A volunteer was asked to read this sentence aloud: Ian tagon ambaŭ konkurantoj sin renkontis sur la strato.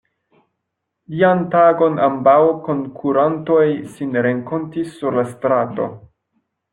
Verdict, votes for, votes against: rejected, 0, 2